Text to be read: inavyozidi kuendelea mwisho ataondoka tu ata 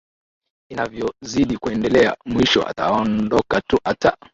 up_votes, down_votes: 3, 1